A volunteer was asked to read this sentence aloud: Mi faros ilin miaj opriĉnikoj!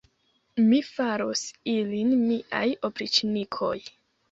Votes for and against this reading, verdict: 0, 2, rejected